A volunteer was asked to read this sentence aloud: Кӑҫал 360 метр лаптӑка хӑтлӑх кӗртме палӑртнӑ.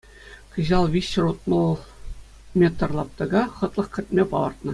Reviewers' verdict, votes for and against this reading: rejected, 0, 2